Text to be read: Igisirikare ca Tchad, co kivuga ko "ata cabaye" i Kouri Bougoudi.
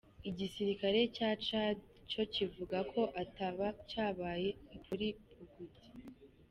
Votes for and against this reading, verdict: 0, 3, rejected